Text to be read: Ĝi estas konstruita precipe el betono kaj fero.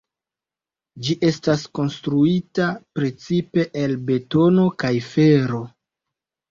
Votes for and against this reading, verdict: 1, 2, rejected